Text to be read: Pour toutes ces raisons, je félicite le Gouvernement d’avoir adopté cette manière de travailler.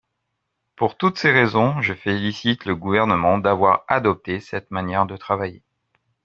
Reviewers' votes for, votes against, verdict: 3, 0, accepted